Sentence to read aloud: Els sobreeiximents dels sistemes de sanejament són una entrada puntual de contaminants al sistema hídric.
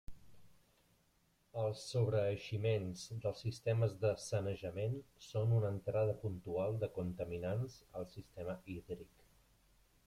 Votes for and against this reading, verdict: 1, 2, rejected